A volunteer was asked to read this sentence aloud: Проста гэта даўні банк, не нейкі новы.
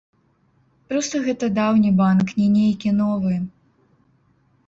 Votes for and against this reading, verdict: 0, 2, rejected